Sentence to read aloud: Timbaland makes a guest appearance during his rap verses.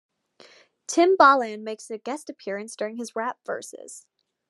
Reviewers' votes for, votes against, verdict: 1, 2, rejected